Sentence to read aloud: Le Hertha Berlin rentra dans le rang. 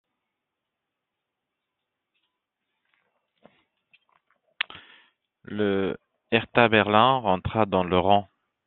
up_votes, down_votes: 2, 0